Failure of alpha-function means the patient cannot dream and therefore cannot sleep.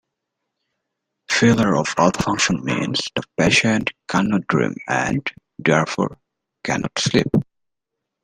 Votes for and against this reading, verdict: 2, 0, accepted